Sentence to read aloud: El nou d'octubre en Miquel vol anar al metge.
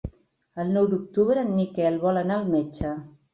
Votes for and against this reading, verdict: 5, 0, accepted